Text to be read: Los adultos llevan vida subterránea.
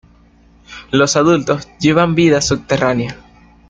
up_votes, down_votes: 2, 0